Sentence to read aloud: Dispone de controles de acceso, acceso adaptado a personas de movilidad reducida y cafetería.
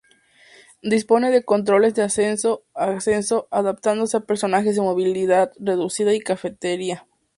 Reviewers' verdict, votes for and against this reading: rejected, 0, 2